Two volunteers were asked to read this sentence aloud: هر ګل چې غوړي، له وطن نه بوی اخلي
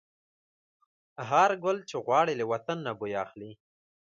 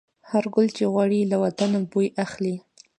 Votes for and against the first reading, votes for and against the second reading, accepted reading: 2, 0, 0, 2, first